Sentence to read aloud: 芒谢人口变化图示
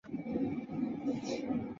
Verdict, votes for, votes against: rejected, 0, 2